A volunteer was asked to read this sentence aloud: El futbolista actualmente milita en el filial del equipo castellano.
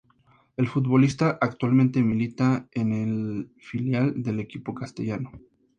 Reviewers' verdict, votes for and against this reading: accepted, 2, 0